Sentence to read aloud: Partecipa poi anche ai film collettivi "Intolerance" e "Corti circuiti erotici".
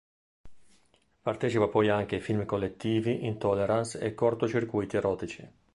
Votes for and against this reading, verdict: 1, 2, rejected